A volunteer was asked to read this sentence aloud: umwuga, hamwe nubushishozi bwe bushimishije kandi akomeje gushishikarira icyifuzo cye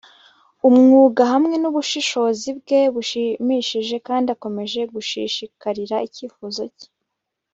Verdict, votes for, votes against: accepted, 3, 1